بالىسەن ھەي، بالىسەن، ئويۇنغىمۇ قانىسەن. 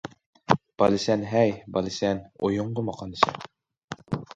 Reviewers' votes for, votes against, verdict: 1, 2, rejected